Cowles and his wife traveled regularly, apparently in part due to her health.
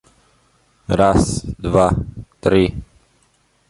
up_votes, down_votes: 1, 2